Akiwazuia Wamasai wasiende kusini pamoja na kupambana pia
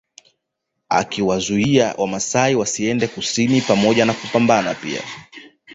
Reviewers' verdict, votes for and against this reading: rejected, 1, 2